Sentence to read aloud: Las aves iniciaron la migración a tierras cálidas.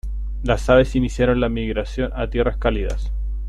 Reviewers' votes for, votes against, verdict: 2, 0, accepted